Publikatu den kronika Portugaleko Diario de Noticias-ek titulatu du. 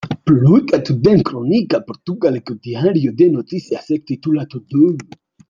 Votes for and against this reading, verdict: 2, 1, accepted